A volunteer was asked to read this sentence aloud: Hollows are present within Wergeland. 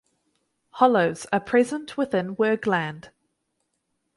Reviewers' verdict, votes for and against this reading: accepted, 4, 0